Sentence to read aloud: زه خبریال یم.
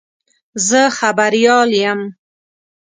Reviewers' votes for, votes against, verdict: 2, 0, accepted